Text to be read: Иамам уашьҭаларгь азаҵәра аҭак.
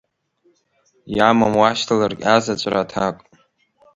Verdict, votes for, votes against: accepted, 2, 0